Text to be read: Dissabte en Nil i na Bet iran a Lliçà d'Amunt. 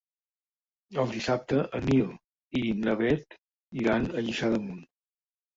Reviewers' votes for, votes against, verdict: 0, 2, rejected